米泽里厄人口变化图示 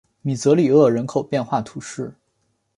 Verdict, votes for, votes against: accepted, 5, 0